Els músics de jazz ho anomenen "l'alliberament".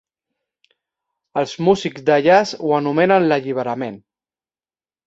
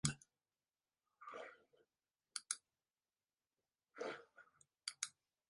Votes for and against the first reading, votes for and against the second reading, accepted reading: 3, 0, 0, 2, first